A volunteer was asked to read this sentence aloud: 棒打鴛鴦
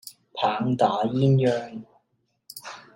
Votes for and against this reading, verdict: 2, 0, accepted